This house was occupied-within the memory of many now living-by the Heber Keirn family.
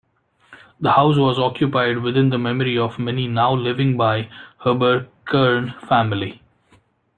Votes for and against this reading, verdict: 1, 2, rejected